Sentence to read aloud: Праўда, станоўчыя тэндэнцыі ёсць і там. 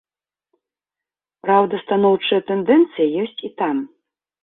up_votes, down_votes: 1, 2